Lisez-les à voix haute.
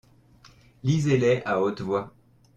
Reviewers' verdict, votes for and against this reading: rejected, 0, 2